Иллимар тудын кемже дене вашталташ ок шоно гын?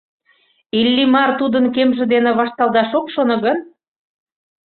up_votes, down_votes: 2, 0